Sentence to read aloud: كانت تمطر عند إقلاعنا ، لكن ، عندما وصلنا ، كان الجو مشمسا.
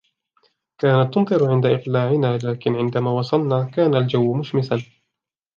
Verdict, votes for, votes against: accepted, 2, 0